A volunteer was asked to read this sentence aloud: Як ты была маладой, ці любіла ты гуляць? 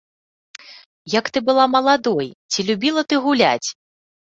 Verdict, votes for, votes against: accepted, 2, 0